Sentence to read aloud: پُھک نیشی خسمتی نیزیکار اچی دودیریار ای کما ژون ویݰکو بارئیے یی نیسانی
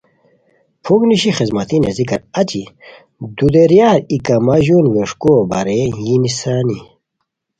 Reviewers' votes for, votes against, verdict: 2, 0, accepted